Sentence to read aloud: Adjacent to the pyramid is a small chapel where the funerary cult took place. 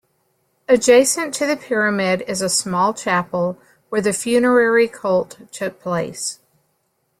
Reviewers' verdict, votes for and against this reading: accepted, 2, 0